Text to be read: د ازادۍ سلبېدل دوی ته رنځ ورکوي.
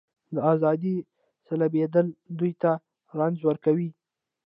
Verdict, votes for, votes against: accepted, 2, 0